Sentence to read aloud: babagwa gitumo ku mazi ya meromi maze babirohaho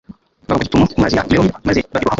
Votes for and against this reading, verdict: 0, 2, rejected